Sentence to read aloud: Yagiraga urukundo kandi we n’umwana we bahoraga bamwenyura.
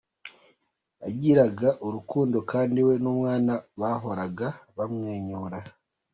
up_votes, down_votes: 2, 1